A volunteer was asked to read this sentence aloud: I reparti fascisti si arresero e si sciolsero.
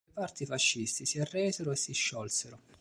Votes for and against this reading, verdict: 0, 2, rejected